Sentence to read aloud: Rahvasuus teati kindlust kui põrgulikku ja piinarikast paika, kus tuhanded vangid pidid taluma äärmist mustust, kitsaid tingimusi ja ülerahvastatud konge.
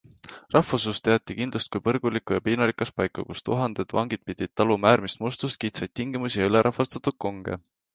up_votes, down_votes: 2, 0